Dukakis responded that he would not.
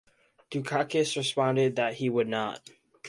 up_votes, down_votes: 2, 0